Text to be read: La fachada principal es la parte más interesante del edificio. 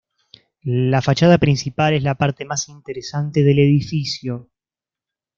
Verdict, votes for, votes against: accepted, 2, 0